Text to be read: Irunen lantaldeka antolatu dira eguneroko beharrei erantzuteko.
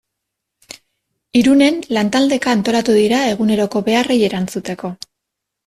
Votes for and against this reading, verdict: 2, 1, accepted